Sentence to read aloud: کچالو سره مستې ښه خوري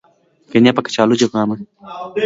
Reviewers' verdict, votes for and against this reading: rejected, 1, 2